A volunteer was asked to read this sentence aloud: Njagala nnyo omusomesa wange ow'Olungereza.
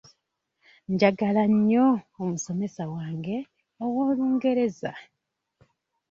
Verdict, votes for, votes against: rejected, 1, 2